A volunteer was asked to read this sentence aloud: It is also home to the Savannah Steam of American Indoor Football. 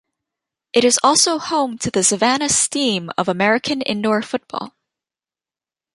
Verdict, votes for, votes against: accepted, 2, 0